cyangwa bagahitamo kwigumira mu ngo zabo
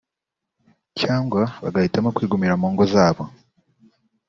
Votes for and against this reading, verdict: 2, 0, accepted